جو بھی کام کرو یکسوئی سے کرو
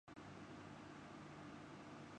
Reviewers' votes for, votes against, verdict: 0, 2, rejected